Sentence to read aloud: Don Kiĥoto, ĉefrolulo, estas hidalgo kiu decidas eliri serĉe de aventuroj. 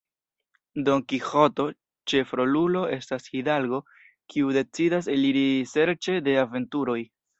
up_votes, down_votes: 2, 0